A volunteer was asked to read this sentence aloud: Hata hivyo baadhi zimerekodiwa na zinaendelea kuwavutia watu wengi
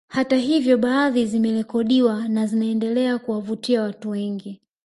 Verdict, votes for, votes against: rejected, 1, 2